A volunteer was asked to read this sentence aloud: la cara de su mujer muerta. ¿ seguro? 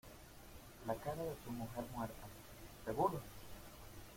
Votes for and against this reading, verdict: 1, 2, rejected